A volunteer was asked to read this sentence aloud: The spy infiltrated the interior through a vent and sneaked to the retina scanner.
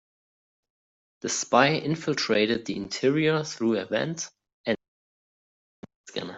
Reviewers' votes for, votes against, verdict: 0, 2, rejected